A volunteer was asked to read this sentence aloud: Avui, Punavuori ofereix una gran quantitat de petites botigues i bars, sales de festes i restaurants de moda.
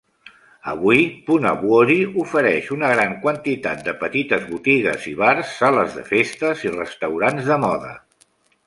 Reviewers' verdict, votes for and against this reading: accepted, 2, 0